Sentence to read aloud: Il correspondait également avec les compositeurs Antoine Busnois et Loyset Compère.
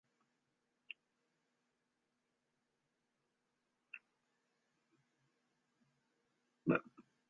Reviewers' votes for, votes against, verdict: 0, 2, rejected